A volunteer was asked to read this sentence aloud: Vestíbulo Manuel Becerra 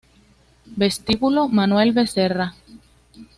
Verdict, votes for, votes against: accepted, 2, 0